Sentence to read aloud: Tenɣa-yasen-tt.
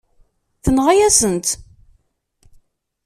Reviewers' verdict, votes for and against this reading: accepted, 2, 0